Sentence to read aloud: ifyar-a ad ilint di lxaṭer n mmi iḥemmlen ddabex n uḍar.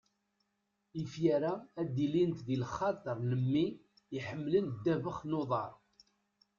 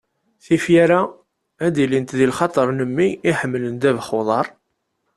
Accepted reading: second